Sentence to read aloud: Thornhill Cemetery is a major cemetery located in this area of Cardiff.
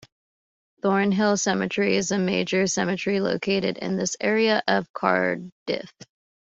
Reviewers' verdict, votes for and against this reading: accepted, 2, 0